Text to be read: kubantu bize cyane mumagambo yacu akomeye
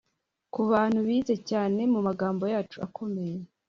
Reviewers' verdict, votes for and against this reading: accepted, 4, 0